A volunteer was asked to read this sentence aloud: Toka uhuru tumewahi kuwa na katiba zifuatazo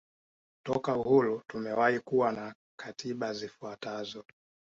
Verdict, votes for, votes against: accepted, 2, 0